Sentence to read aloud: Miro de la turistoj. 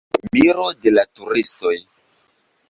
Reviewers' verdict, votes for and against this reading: accepted, 2, 0